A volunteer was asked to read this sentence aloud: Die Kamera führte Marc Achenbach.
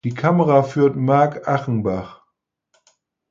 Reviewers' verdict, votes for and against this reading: rejected, 0, 4